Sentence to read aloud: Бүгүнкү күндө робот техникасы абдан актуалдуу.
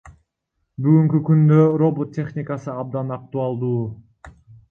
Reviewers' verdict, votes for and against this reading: rejected, 0, 2